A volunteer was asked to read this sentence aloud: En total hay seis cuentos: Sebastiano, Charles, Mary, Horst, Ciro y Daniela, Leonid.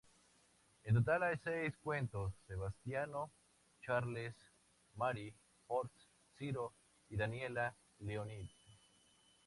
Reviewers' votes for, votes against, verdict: 2, 0, accepted